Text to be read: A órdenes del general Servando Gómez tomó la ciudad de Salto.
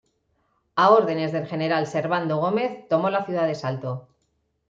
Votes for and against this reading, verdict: 2, 1, accepted